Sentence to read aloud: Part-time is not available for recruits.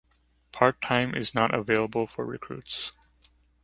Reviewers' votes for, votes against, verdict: 2, 0, accepted